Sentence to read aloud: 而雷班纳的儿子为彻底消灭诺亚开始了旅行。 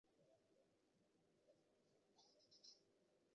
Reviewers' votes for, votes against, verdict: 0, 2, rejected